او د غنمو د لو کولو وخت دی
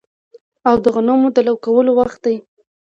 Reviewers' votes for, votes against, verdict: 1, 2, rejected